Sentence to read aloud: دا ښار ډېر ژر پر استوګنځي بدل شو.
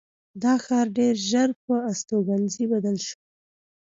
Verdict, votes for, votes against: accepted, 2, 0